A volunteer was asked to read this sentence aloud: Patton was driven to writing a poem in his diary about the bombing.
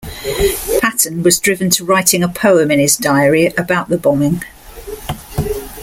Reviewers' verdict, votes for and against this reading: accepted, 2, 0